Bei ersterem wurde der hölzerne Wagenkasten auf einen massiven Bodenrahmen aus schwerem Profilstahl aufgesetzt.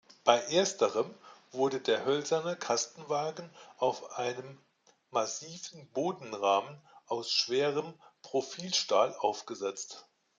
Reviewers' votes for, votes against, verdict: 1, 2, rejected